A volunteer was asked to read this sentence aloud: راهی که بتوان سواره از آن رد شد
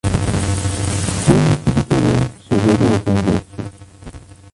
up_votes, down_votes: 0, 2